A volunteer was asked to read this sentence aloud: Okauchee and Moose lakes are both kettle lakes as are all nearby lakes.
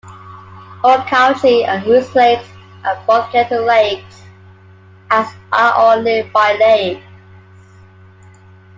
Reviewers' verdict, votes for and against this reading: accepted, 2, 1